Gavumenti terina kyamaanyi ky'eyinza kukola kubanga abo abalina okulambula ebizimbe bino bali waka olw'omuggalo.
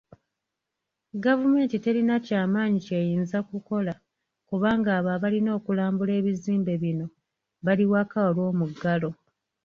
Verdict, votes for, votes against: rejected, 1, 2